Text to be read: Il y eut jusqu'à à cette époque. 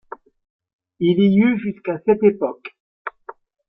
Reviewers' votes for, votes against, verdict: 0, 2, rejected